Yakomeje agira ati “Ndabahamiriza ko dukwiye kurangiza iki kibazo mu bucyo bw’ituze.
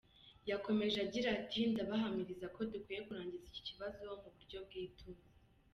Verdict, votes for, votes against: accepted, 2, 0